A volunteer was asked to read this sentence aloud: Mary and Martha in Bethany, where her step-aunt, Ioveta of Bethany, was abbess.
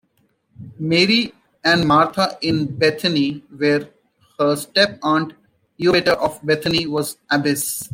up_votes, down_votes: 0, 2